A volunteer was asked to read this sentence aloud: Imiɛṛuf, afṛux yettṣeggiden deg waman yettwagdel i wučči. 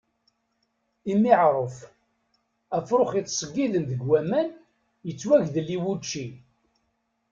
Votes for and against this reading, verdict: 2, 0, accepted